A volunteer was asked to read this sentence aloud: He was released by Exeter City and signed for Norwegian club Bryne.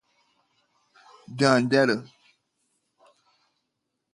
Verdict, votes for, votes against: rejected, 0, 2